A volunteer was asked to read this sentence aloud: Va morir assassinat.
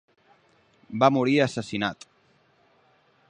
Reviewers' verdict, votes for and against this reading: accepted, 4, 0